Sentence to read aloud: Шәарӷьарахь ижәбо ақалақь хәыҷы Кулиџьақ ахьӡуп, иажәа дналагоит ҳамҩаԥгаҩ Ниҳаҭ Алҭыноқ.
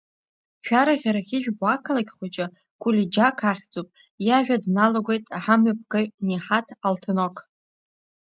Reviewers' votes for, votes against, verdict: 0, 2, rejected